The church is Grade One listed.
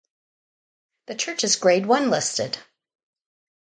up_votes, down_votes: 4, 0